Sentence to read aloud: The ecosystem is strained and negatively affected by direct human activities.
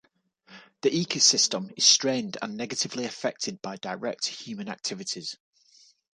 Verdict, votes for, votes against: accepted, 2, 0